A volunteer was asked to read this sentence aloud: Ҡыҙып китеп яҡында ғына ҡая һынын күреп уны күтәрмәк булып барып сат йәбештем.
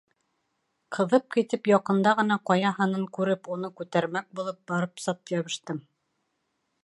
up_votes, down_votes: 2, 0